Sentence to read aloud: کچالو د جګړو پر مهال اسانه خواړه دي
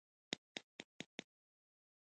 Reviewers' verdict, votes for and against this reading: rejected, 1, 2